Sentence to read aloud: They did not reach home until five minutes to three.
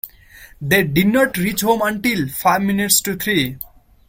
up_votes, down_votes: 2, 0